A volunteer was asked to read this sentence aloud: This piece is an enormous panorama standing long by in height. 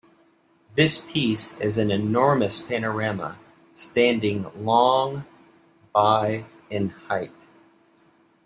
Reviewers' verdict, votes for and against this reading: accepted, 2, 1